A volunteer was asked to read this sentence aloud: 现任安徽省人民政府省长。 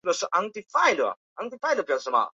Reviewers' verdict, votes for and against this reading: rejected, 1, 2